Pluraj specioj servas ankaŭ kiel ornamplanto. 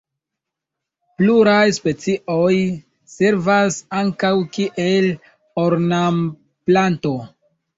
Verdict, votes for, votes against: accepted, 2, 0